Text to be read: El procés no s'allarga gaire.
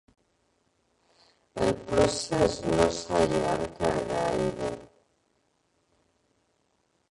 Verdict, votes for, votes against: rejected, 0, 3